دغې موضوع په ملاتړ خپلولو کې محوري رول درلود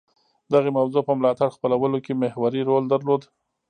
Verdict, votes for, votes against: rejected, 0, 2